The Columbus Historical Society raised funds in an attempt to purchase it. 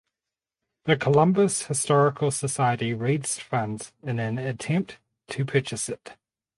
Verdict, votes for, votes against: rejected, 2, 2